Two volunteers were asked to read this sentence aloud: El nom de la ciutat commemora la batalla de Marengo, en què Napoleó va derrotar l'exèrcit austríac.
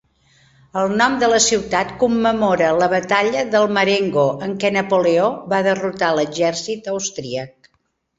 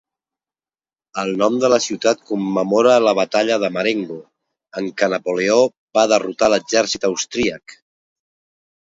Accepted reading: second